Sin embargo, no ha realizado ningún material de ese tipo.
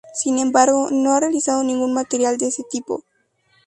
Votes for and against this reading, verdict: 2, 0, accepted